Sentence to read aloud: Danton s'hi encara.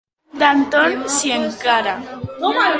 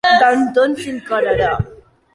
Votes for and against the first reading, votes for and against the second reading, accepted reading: 2, 0, 0, 2, first